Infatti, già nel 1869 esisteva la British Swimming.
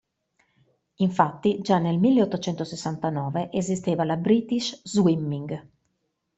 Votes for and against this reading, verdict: 0, 2, rejected